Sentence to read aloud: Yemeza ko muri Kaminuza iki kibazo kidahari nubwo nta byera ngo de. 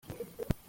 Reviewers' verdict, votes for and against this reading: rejected, 0, 3